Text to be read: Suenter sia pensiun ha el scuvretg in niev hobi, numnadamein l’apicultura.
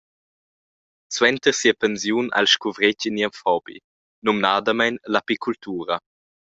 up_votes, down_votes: 2, 0